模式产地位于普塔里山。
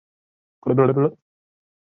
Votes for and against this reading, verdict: 1, 3, rejected